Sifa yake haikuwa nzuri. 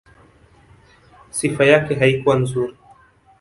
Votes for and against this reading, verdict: 2, 0, accepted